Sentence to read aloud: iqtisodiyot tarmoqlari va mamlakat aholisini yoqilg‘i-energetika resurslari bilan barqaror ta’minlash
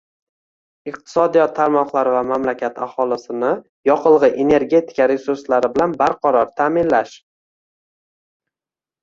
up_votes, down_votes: 0, 2